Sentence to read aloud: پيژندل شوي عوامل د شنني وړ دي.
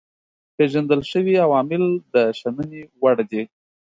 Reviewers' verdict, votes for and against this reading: accepted, 2, 0